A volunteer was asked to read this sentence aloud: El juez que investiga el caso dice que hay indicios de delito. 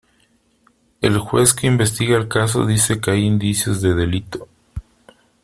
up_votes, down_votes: 2, 0